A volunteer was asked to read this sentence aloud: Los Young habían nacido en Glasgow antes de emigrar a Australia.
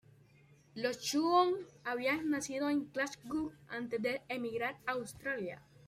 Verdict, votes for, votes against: accepted, 2, 1